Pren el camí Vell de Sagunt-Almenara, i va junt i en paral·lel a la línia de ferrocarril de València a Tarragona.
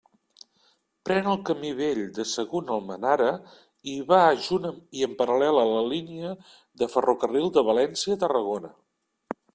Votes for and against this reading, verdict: 0, 2, rejected